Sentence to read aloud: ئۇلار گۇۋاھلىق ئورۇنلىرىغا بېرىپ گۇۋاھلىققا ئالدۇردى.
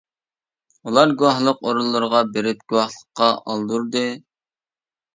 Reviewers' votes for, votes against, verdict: 2, 0, accepted